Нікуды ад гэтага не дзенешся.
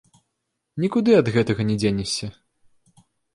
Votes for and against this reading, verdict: 2, 0, accepted